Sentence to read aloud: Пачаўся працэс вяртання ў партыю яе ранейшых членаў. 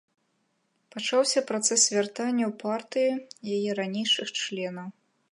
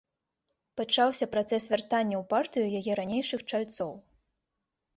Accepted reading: first